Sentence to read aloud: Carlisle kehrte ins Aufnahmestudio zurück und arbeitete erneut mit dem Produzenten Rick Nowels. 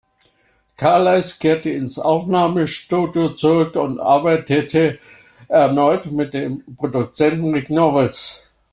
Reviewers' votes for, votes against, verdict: 1, 2, rejected